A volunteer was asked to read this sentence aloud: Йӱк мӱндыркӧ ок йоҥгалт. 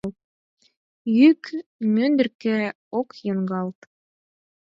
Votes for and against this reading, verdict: 4, 8, rejected